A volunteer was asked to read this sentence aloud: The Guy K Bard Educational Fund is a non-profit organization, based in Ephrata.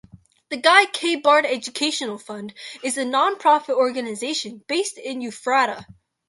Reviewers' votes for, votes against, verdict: 0, 2, rejected